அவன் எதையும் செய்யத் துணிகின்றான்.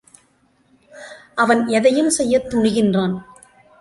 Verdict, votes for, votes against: accepted, 3, 0